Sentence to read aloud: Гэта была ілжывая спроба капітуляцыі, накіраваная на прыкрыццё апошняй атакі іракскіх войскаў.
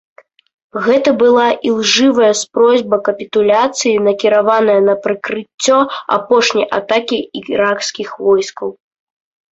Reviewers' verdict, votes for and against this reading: rejected, 0, 2